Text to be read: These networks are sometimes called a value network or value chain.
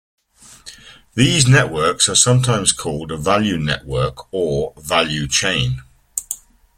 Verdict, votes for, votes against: accepted, 2, 0